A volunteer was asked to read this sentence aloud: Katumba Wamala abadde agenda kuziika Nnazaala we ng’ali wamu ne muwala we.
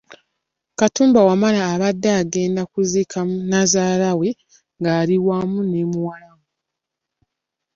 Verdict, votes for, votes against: accepted, 2, 0